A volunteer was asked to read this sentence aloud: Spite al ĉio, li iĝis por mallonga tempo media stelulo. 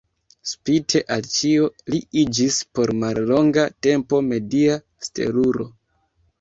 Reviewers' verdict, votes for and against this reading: accepted, 2, 0